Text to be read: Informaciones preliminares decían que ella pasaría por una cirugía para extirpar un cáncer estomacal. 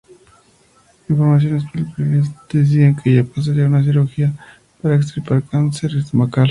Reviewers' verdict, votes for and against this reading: accepted, 2, 0